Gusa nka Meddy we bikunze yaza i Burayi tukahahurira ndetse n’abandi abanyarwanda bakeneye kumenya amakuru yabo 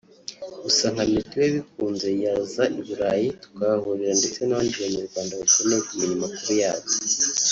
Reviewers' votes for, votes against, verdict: 1, 2, rejected